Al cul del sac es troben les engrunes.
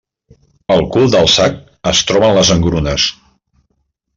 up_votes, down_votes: 2, 0